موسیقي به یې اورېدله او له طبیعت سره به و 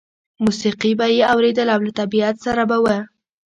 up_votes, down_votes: 1, 2